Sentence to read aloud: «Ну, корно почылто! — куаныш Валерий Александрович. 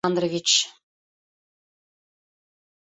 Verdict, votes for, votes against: rejected, 0, 2